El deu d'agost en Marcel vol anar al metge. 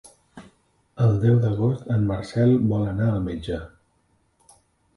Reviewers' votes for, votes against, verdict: 2, 0, accepted